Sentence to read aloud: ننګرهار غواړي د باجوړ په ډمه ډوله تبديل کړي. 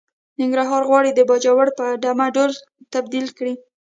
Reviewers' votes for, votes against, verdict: 0, 2, rejected